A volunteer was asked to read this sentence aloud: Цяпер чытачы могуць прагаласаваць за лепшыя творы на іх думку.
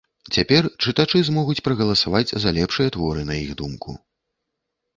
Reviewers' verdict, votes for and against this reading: rejected, 1, 2